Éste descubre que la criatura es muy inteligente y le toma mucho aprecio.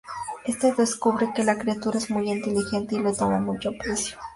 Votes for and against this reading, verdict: 2, 0, accepted